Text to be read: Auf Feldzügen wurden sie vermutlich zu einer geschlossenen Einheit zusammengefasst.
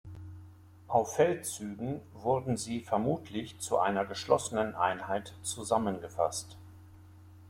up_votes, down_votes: 2, 0